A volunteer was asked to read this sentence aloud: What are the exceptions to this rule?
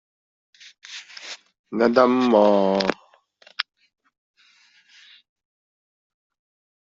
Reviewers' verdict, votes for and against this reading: rejected, 0, 2